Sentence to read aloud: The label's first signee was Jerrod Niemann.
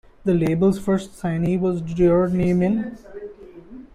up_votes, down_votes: 0, 2